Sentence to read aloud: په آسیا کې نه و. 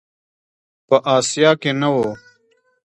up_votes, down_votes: 2, 0